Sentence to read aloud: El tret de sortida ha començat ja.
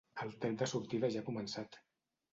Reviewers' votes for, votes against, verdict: 0, 2, rejected